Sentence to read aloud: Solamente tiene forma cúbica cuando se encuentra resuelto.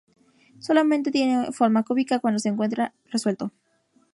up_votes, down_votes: 2, 0